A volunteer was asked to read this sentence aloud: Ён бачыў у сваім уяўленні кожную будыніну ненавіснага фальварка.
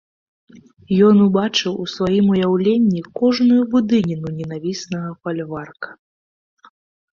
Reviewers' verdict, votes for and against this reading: rejected, 1, 2